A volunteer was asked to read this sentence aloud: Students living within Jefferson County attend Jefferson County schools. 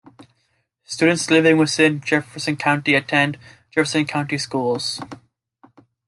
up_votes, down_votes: 2, 0